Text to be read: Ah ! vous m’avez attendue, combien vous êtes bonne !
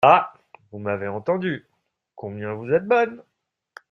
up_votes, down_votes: 0, 2